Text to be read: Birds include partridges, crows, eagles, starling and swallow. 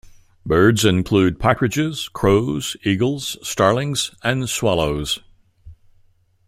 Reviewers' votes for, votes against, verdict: 0, 2, rejected